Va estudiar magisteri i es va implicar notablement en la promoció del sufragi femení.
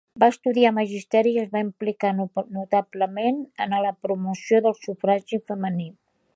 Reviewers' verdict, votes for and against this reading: accepted, 2, 1